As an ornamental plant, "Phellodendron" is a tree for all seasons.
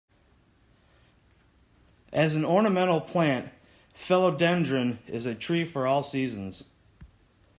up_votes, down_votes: 1, 2